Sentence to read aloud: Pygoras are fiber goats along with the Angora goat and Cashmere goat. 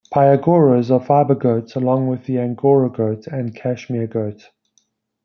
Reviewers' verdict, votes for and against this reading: accepted, 2, 0